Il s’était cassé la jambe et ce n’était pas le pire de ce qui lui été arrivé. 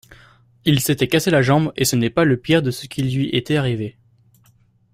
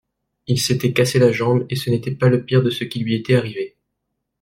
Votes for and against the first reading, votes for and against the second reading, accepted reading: 1, 2, 2, 0, second